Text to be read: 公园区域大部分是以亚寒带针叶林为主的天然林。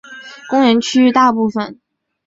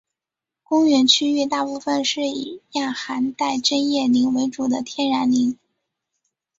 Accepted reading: second